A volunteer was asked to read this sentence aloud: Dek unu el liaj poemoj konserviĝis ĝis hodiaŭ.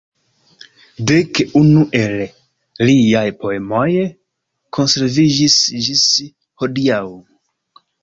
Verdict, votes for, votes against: accepted, 2, 0